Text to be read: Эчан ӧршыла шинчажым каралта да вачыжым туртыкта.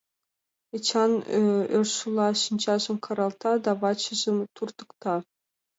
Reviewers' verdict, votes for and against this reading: accepted, 2, 1